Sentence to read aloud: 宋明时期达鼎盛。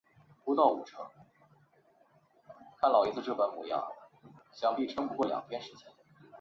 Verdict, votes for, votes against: rejected, 1, 2